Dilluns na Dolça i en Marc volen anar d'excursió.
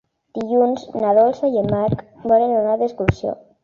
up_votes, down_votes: 1, 3